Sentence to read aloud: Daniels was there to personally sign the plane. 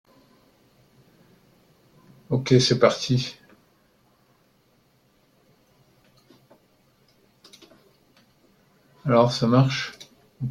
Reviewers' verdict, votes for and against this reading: rejected, 0, 2